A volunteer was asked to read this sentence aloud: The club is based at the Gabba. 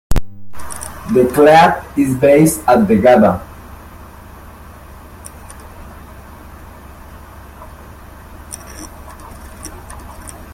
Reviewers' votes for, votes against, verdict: 0, 2, rejected